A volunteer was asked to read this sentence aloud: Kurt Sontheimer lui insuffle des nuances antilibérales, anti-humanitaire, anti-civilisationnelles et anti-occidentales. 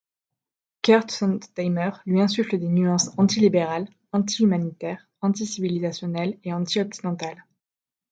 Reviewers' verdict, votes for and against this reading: accepted, 2, 0